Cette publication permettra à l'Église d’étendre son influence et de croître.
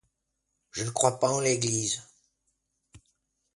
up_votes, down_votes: 0, 2